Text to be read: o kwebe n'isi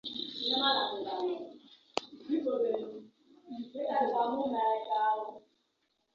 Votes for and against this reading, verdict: 0, 2, rejected